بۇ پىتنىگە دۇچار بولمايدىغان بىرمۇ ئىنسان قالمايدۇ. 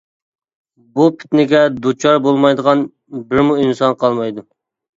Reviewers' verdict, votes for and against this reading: accepted, 2, 0